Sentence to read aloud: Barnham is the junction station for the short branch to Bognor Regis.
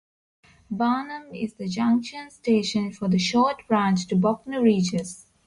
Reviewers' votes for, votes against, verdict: 2, 0, accepted